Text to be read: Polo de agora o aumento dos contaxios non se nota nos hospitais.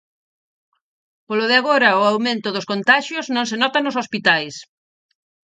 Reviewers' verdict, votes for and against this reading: accepted, 4, 0